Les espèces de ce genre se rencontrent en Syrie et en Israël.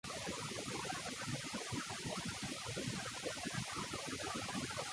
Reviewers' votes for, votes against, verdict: 0, 2, rejected